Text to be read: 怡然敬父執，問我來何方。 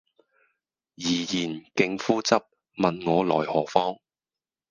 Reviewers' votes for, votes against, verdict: 2, 4, rejected